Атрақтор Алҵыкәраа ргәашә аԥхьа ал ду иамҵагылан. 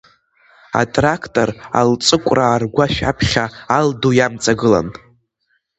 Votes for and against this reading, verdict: 2, 0, accepted